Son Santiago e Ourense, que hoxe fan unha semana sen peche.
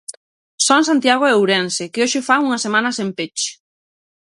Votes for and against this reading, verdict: 6, 0, accepted